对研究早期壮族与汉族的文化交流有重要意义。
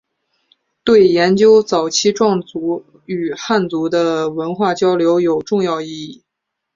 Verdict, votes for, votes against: accepted, 2, 1